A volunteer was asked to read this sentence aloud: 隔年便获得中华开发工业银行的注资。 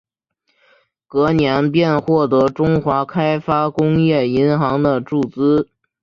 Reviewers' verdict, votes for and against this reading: accepted, 2, 0